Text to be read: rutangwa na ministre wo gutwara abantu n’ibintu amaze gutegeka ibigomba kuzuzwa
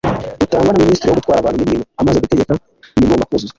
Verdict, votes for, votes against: accepted, 2, 0